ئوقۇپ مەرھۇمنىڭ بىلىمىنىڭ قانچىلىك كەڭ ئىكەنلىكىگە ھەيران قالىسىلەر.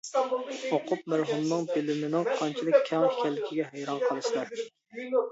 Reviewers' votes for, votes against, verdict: 0, 2, rejected